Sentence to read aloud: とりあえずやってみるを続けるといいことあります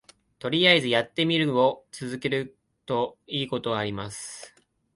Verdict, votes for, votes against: accepted, 3, 0